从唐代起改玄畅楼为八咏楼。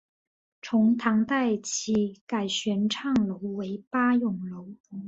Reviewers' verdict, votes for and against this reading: accepted, 2, 0